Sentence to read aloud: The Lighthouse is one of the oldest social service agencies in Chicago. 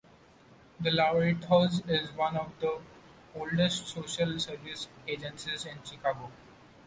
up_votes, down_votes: 0, 2